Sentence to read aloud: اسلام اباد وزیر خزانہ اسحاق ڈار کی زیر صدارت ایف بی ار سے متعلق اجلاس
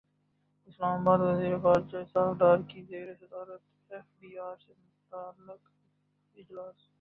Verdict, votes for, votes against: rejected, 1, 2